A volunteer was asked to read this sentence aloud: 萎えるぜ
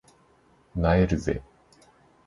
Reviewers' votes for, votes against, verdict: 2, 0, accepted